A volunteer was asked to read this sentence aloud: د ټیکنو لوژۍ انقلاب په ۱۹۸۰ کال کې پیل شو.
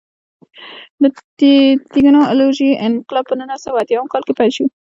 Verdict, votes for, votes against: rejected, 0, 2